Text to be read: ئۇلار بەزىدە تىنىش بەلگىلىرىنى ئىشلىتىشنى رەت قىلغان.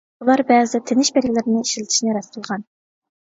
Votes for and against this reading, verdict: 0, 2, rejected